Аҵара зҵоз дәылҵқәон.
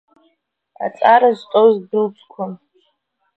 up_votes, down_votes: 0, 2